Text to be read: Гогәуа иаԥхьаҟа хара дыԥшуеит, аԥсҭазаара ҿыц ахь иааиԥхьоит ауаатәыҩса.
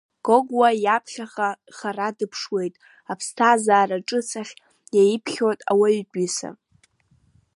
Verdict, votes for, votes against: rejected, 1, 2